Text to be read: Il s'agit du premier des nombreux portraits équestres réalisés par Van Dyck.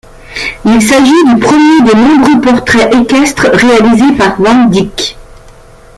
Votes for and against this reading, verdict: 2, 0, accepted